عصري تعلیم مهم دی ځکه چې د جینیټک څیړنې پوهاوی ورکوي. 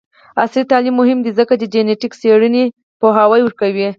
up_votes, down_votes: 2, 4